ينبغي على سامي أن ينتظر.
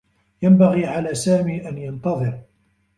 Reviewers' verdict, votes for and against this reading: accepted, 2, 1